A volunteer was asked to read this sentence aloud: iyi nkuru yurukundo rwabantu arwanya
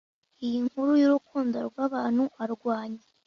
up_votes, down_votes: 2, 0